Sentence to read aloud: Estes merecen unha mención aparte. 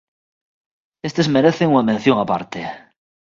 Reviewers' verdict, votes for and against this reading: accepted, 2, 0